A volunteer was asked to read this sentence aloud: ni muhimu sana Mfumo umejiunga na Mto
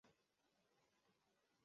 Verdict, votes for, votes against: rejected, 0, 2